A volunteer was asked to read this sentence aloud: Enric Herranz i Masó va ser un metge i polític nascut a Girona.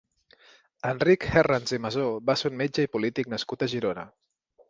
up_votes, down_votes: 0, 2